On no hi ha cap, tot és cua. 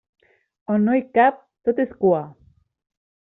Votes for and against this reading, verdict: 1, 2, rejected